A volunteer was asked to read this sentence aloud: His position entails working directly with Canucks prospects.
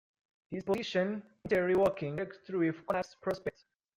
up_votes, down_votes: 0, 2